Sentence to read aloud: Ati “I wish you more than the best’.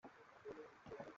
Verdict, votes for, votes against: rejected, 0, 2